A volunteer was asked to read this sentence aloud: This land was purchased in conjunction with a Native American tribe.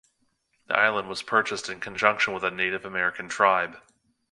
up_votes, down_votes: 1, 2